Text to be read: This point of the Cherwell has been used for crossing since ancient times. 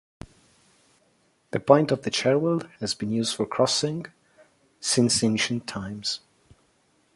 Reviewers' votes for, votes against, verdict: 0, 2, rejected